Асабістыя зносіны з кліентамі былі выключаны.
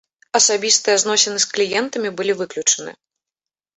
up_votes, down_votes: 2, 0